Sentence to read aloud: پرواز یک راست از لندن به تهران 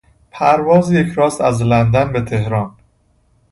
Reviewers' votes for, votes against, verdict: 2, 0, accepted